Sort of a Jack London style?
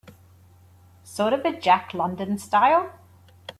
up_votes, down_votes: 2, 0